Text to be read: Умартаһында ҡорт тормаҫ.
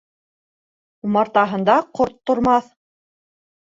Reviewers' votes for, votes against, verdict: 2, 0, accepted